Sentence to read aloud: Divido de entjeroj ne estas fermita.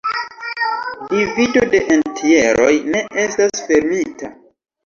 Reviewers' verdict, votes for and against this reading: rejected, 1, 2